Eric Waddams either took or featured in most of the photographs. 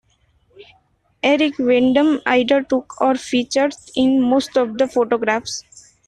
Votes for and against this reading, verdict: 0, 2, rejected